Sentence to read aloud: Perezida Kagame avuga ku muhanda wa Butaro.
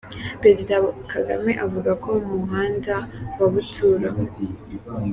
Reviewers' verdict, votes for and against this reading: rejected, 0, 2